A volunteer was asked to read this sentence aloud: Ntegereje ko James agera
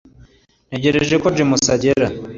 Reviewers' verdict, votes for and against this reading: accepted, 2, 0